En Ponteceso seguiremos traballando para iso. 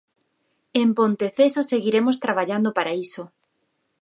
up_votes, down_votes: 4, 0